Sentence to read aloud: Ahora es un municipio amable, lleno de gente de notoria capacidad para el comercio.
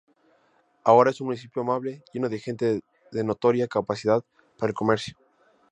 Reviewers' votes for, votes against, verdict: 4, 0, accepted